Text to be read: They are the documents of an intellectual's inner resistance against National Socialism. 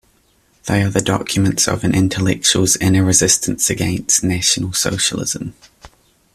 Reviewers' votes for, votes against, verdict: 2, 0, accepted